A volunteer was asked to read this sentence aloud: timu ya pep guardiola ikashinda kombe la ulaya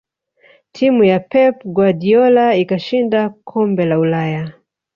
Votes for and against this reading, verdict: 3, 2, accepted